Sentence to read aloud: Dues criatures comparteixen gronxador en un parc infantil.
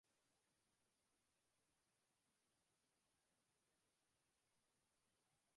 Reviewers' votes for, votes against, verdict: 0, 2, rejected